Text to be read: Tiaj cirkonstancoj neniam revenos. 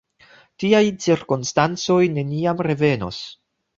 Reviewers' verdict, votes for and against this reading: accepted, 2, 0